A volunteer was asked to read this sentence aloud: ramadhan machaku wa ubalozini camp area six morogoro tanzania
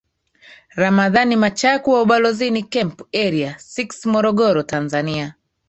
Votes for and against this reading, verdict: 2, 1, accepted